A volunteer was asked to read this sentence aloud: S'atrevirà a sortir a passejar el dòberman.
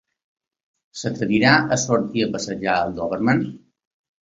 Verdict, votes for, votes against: accepted, 2, 1